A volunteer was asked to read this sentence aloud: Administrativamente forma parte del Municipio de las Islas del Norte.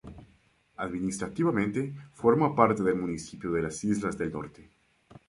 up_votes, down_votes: 2, 2